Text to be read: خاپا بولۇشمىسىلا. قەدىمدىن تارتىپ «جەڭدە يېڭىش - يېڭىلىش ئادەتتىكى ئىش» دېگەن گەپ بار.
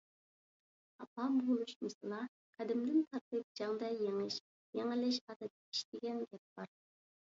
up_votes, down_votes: 2, 1